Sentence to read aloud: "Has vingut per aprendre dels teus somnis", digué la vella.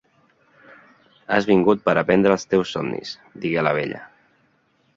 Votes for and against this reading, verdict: 2, 1, accepted